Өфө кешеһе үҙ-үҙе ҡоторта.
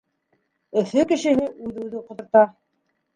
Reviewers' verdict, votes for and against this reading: rejected, 1, 2